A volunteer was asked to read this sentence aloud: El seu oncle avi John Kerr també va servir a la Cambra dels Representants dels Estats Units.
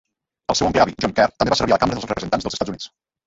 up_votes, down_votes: 0, 2